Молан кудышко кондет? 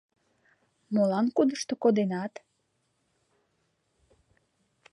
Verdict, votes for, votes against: rejected, 0, 2